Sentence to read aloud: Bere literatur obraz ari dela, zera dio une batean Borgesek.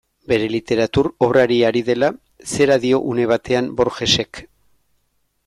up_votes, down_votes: 0, 2